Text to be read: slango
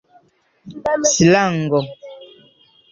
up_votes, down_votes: 0, 2